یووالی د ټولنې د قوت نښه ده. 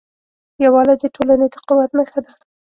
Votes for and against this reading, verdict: 2, 0, accepted